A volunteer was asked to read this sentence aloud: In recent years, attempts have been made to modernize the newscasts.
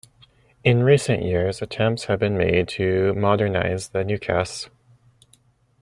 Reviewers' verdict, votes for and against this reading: rejected, 1, 2